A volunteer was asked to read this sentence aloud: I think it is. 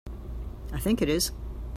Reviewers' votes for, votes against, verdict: 2, 0, accepted